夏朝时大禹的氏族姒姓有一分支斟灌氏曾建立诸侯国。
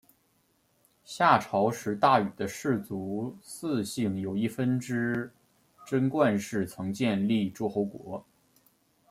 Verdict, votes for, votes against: accepted, 2, 0